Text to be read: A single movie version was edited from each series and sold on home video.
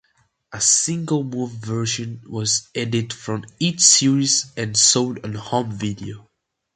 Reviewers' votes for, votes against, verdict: 0, 2, rejected